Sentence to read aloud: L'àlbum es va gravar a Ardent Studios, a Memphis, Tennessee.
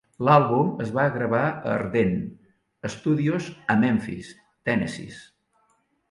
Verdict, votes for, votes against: rejected, 1, 2